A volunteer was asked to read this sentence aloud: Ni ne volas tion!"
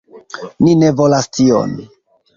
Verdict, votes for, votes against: accepted, 2, 0